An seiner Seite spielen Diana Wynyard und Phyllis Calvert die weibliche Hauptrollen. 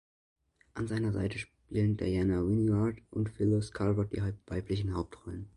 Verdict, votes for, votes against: rejected, 0, 2